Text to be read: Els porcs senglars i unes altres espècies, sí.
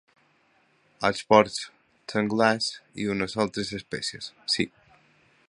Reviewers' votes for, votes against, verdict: 2, 0, accepted